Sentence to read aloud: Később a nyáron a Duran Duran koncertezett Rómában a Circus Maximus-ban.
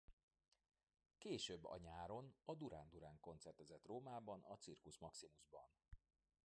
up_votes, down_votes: 1, 2